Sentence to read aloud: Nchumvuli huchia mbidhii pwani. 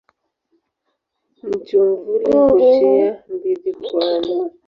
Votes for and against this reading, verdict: 0, 2, rejected